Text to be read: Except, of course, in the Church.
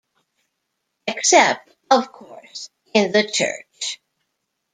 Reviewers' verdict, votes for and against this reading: rejected, 0, 2